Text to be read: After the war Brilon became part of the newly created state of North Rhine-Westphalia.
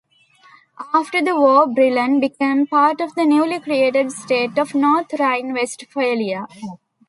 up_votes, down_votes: 2, 0